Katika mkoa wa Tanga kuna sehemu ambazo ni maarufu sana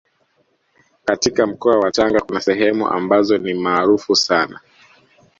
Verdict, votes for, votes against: accepted, 2, 0